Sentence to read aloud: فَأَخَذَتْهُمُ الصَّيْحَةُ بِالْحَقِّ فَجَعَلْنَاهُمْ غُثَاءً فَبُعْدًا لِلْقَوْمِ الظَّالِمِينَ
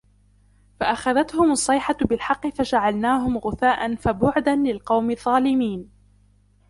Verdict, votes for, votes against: accepted, 2, 0